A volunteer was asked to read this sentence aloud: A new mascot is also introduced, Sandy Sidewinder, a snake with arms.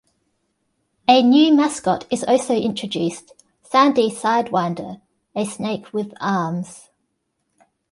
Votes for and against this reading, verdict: 2, 0, accepted